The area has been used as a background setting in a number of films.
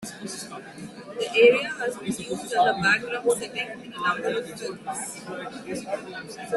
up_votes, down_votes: 0, 3